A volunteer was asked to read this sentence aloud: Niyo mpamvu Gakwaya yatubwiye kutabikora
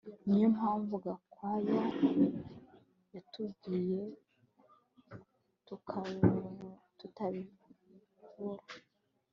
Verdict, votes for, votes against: rejected, 1, 2